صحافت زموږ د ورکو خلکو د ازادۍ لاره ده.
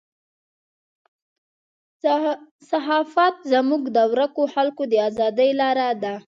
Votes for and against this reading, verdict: 2, 0, accepted